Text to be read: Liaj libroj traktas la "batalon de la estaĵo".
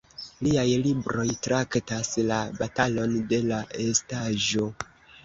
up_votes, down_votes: 2, 0